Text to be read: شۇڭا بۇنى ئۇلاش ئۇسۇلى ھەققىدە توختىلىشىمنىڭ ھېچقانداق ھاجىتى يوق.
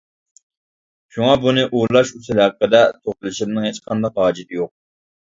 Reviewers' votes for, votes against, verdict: 0, 2, rejected